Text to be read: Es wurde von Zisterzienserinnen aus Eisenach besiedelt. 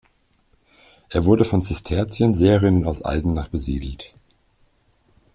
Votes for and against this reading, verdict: 1, 2, rejected